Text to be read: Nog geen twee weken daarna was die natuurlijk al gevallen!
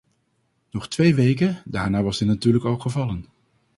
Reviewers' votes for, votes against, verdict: 0, 2, rejected